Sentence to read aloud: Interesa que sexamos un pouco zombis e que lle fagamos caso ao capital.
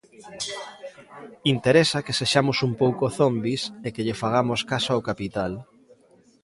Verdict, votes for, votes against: accepted, 2, 0